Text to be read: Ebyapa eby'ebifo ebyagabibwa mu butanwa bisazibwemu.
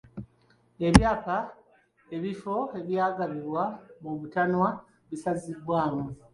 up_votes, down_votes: 1, 2